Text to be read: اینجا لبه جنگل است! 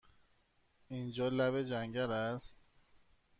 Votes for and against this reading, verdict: 1, 2, rejected